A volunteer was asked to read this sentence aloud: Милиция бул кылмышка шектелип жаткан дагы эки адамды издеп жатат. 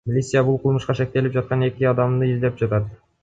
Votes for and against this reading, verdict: 1, 2, rejected